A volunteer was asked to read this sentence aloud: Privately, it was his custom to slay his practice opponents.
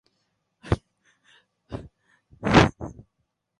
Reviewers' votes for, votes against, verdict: 0, 2, rejected